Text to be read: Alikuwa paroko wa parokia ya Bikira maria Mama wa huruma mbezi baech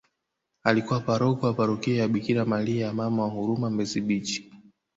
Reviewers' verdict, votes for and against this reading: accepted, 3, 2